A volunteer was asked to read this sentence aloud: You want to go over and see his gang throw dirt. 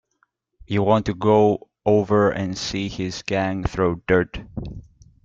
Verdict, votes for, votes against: rejected, 1, 2